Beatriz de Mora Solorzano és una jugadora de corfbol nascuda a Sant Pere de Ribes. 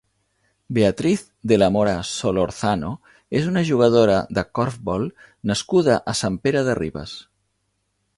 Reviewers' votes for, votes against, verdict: 2, 0, accepted